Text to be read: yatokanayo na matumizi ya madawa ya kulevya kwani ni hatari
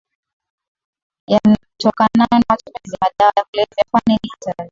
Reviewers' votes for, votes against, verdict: 2, 0, accepted